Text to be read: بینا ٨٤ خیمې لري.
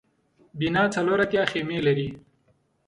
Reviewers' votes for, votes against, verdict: 0, 2, rejected